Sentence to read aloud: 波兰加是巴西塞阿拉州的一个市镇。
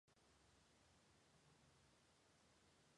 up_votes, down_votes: 0, 5